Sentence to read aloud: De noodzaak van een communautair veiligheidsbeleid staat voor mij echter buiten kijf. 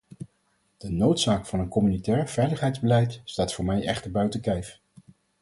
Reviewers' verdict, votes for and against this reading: accepted, 4, 0